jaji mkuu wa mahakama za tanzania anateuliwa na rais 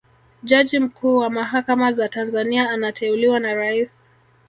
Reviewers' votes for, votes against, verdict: 1, 2, rejected